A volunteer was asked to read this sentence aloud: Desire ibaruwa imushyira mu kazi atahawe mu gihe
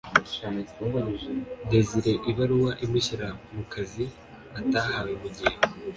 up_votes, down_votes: 2, 0